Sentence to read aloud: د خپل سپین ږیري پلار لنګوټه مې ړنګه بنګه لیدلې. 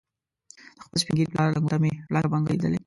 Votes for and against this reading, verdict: 1, 2, rejected